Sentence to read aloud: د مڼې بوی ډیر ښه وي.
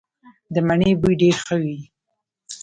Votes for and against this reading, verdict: 1, 2, rejected